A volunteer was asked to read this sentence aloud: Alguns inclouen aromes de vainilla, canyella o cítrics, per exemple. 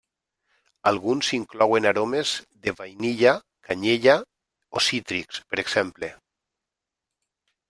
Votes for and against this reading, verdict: 0, 2, rejected